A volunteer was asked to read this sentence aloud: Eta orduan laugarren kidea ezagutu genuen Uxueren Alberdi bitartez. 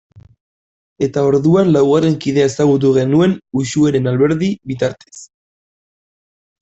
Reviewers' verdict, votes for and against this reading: accepted, 2, 0